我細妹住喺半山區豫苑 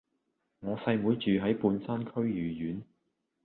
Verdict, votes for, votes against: accepted, 2, 0